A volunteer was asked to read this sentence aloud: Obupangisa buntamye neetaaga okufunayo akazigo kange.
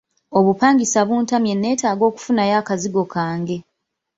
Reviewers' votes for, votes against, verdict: 2, 0, accepted